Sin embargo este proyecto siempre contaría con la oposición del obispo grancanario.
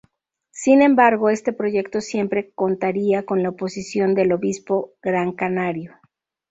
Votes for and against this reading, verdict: 2, 0, accepted